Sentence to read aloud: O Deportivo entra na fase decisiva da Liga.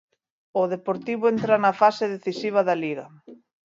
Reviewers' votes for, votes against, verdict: 2, 0, accepted